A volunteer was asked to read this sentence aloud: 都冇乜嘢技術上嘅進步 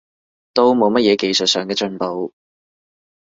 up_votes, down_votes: 2, 0